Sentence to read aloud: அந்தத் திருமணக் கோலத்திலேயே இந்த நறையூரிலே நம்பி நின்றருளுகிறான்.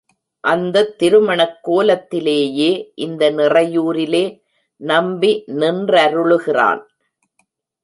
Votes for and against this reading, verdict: 1, 2, rejected